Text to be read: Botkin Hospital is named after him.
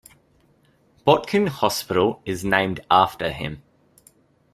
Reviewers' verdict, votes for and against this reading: accepted, 2, 0